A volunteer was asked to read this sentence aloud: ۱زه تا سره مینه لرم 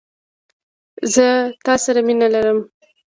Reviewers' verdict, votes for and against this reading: rejected, 0, 2